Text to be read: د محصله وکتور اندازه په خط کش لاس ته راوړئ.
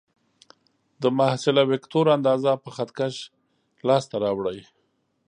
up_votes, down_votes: 2, 0